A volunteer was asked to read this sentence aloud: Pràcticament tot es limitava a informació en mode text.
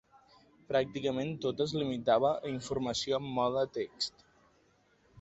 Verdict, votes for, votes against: accepted, 2, 0